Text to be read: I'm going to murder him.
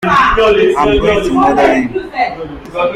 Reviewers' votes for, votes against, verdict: 0, 2, rejected